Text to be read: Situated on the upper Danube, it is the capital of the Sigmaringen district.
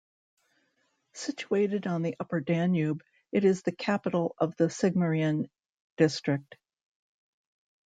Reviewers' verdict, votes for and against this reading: accepted, 2, 1